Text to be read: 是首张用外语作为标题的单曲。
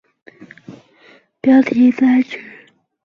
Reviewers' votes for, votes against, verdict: 0, 2, rejected